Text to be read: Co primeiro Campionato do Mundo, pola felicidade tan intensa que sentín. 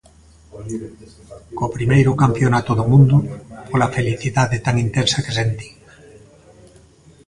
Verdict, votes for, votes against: rejected, 1, 2